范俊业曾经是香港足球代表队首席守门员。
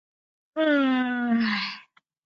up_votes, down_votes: 0, 2